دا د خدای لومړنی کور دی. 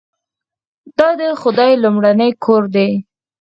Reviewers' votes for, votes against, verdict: 2, 4, rejected